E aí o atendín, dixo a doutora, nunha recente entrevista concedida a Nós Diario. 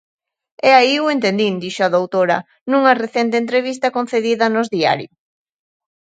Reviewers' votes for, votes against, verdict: 0, 3, rejected